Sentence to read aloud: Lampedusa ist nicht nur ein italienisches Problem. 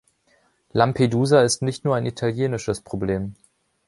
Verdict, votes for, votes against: accepted, 2, 0